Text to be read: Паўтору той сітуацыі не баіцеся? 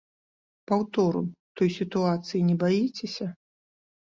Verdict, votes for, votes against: accepted, 2, 0